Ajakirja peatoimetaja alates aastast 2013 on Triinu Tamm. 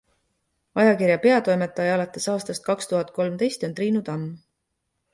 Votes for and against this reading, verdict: 0, 2, rejected